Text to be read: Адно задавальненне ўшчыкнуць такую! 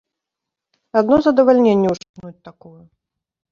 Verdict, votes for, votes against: rejected, 0, 2